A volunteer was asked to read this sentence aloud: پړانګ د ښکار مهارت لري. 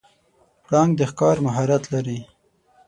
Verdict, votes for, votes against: rejected, 3, 6